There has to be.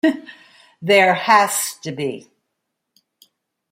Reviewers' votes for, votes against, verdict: 1, 2, rejected